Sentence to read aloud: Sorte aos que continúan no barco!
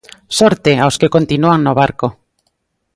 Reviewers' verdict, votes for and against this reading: accepted, 2, 0